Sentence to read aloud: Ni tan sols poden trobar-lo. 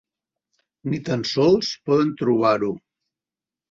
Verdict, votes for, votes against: rejected, 2, 3